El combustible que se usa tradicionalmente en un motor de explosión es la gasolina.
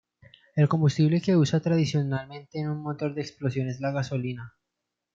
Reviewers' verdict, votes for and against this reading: rejected, 1, 2